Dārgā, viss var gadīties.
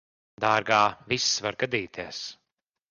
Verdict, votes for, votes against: accepted, 2, 0